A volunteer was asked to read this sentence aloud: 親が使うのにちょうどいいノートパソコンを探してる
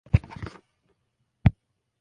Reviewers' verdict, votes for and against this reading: rejected, 0, 2